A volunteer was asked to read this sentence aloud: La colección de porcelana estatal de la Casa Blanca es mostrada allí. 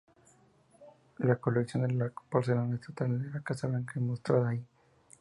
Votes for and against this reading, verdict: 0, 2, rejected